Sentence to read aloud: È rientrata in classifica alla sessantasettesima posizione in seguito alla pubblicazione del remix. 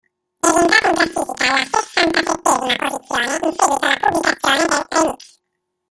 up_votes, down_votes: 0, 2